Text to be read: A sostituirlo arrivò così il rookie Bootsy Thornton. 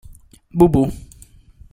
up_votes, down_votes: 0, 2